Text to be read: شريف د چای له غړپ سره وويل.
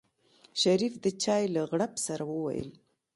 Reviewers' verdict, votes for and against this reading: accepted, 2, 0